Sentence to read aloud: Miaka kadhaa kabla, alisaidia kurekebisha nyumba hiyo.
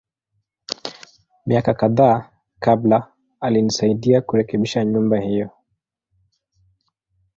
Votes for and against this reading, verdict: 1, 2, rejected